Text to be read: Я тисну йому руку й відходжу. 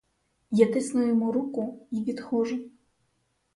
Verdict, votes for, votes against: rejected, 2, 4